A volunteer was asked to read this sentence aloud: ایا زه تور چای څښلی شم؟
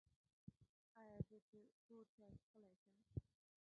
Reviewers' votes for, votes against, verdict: 0, 2, rejected